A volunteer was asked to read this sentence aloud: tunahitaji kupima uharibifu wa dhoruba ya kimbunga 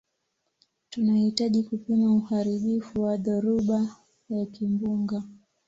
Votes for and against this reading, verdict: 2, 0, accepted